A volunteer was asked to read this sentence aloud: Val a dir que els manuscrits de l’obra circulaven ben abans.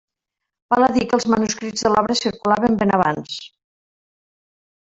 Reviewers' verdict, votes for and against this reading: rejected, 1, 2